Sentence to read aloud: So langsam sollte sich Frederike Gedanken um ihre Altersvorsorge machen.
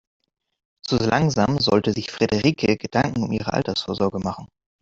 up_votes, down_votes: 6, 0